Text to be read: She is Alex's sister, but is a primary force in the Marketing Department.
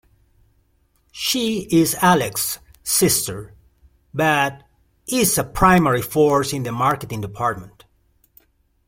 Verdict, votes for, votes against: accepted, 2, 1